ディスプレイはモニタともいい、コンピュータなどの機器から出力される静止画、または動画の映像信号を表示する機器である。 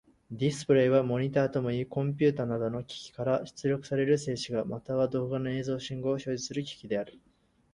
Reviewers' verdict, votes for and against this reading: accepted, 4, 0